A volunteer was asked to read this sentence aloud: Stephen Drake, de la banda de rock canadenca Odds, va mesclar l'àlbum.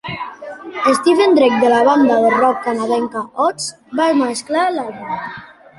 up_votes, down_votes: 1, 2